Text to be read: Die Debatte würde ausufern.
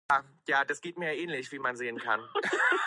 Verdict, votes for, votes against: rejected, 0, 2